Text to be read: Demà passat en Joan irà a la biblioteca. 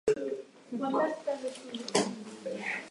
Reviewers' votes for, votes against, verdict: 0, 2, rejected